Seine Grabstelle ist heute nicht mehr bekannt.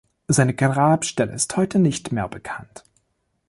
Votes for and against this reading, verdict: 1, 2, rejected